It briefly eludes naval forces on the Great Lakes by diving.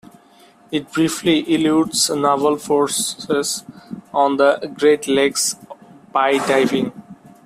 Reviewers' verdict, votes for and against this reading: rejected, 0, 2